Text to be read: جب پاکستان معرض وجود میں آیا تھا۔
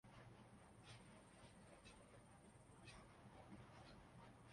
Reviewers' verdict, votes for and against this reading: rejected, 0, 2